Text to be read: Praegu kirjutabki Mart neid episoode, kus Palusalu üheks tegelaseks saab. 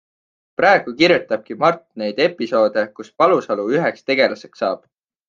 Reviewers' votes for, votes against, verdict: 2, 0, accepted